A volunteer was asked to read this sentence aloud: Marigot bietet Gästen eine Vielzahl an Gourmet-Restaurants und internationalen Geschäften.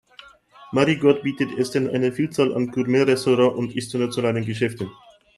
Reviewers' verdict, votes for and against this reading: rejected, 0, 2